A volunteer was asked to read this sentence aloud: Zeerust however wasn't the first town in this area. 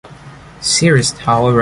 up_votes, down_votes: 0, 2